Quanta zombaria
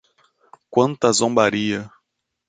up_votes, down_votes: 2, 0